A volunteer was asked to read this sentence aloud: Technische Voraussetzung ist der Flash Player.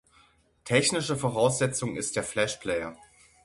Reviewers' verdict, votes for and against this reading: accepted, 6, 0